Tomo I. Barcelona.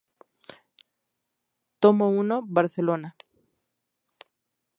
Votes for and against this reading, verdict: 2, 0, accepted